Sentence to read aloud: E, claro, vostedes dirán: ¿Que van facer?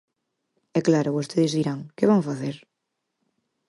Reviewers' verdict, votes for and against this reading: accepted, 4, 0